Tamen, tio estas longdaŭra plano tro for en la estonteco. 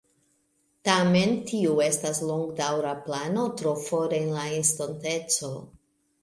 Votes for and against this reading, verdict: 2, 1, accepted